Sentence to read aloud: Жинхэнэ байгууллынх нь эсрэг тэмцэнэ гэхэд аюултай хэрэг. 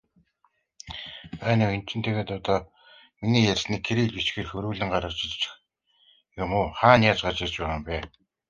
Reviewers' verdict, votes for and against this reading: rejected, 1, 2